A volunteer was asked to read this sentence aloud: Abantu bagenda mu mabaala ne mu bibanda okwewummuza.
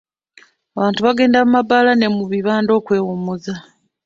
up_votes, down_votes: 2, 0